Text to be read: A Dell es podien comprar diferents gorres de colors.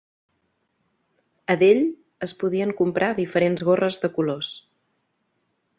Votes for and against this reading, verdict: 2, 0, accepted